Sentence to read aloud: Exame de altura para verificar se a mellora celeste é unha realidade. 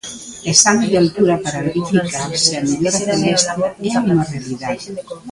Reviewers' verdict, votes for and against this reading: rejected, 0, 2